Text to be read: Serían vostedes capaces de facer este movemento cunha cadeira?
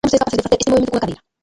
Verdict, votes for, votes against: rejected, 0, 2